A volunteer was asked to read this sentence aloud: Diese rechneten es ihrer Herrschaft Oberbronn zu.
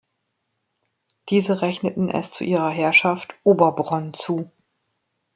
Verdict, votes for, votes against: rejected, 1, 2